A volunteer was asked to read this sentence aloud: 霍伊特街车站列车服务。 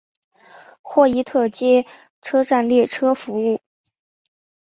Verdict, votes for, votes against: accepted, 2, 0